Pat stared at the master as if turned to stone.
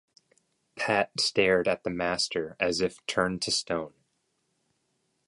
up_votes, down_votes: 2, 0